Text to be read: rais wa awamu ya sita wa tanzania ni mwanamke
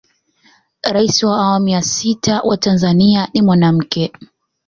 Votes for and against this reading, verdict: 2, 1, accepted